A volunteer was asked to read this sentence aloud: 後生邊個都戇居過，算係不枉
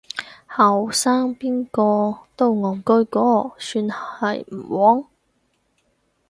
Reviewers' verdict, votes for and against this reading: rejected, 0, 4